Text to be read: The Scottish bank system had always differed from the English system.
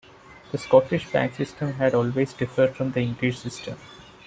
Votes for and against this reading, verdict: 2, 0, accepted